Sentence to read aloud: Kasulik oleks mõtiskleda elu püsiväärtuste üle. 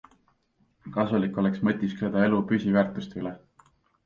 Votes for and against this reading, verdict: 2, 0, accepted